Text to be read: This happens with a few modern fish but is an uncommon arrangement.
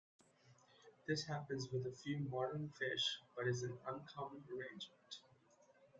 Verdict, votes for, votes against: rejected, 0, 2